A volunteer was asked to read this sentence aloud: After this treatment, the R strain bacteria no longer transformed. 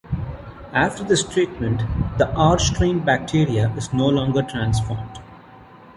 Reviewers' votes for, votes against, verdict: 1, 2, rejected